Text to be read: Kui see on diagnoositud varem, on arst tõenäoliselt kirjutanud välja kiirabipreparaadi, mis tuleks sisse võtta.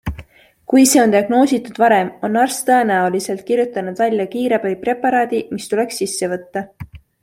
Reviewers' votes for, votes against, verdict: 3, 0, accepted